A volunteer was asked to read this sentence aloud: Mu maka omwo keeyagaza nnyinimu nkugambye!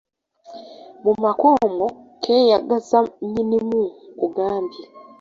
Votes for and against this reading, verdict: 2, 0, accepted